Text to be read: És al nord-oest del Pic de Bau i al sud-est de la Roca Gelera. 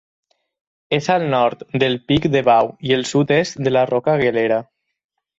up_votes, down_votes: 2, 4